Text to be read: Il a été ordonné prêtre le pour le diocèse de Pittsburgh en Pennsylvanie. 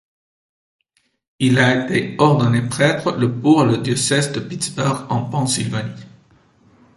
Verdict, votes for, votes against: rejected, 0, 2